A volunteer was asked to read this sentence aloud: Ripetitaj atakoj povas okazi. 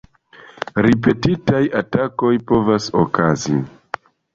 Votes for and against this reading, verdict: 2, 1, accepted